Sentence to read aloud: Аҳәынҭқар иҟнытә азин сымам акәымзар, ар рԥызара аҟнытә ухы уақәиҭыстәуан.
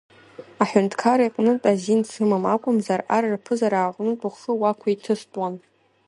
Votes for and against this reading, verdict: 2, 0, accepted